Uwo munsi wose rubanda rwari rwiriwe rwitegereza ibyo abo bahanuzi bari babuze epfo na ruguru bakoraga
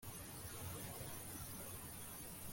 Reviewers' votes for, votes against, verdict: 0, 2, rejected